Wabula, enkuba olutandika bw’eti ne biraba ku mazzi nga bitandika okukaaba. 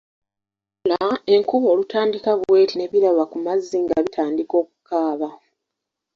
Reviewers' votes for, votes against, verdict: 1, 2, rejected